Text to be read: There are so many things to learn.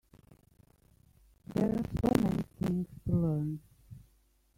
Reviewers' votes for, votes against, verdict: 0, 2, rejected